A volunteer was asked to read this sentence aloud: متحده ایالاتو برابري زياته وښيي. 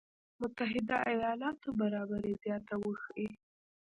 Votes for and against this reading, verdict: 1, 2, rejected